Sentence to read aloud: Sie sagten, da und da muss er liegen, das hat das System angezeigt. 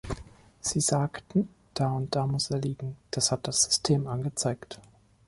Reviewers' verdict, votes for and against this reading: accepted, 2, 0